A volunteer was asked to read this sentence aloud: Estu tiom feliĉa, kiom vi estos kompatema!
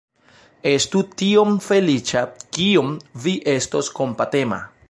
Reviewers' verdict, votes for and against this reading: accepted, 2, 0